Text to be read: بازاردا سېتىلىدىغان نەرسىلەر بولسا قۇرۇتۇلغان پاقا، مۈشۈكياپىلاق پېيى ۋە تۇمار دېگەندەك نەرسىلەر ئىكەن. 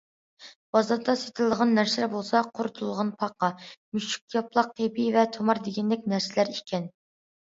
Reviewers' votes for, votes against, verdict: 2, 0, accepted